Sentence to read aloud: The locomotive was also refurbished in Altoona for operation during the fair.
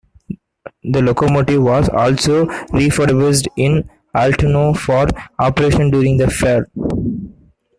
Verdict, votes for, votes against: rejected, 1, 2